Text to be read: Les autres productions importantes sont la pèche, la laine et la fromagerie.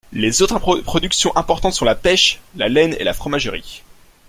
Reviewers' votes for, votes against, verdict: 0, 2, rejected